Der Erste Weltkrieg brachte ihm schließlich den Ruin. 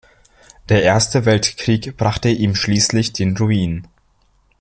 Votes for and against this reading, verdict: 2, 0, accepted